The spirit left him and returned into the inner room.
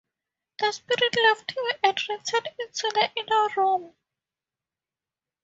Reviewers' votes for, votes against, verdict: 2, 0, accepted